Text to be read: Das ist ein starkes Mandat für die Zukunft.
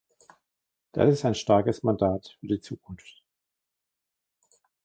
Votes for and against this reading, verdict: 1, 2, rejected